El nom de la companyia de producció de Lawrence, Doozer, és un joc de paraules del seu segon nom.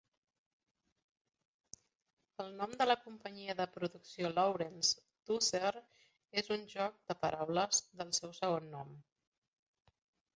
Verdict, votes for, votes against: rejected, 0, 2